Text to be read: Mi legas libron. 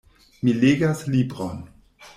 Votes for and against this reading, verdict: 1, 2, rejected